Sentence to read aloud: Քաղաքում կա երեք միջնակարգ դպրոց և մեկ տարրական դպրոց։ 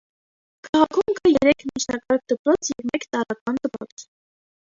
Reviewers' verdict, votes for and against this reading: rejected, 1, 2